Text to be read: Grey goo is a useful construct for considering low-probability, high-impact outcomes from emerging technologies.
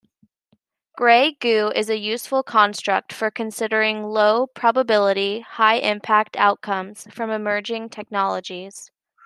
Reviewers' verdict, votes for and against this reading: accepted, 2, 0